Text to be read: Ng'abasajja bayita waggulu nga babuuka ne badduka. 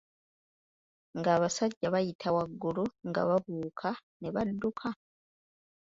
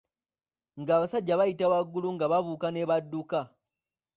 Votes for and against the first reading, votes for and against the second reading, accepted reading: 2, 0, 0, 2, first